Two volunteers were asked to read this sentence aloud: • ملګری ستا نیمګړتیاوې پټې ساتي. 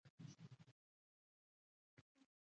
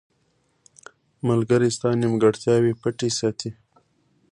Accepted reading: second